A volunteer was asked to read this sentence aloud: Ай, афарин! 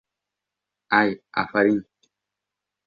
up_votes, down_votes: 1, 2